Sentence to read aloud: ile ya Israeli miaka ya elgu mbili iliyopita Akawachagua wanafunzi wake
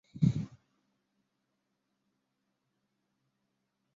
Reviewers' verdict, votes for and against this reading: rejected, 0, 2